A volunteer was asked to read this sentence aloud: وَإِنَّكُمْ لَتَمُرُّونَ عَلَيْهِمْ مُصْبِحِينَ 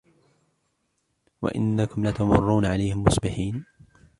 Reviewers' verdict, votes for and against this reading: accepted, 2, 0